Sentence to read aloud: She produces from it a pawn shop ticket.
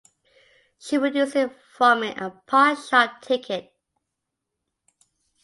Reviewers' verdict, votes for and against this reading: rejected, 0, 2